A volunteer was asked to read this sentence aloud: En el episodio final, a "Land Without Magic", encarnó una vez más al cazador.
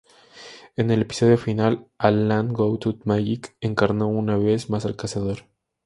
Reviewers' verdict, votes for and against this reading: accepted, 4, 0